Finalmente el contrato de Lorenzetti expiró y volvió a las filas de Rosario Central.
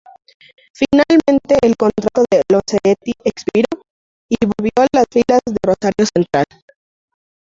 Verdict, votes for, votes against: rejected, 0, 2